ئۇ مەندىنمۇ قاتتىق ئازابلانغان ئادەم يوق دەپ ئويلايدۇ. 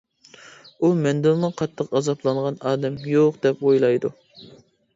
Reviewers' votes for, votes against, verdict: 2, 0, accepted